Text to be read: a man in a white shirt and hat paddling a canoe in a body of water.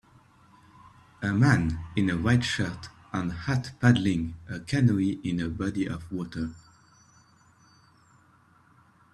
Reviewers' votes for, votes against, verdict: 2, 0, accepted